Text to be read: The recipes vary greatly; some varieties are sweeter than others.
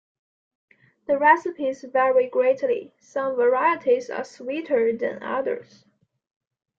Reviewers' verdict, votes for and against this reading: accepted, 3, 0